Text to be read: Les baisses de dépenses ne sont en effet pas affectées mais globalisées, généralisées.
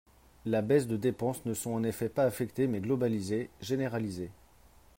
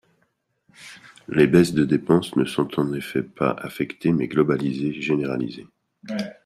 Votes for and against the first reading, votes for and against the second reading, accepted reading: 4, 1, 1, 2, first